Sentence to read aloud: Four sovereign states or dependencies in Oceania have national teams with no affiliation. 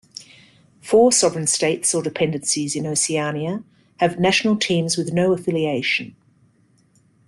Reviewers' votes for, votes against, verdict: 2, 0, accepted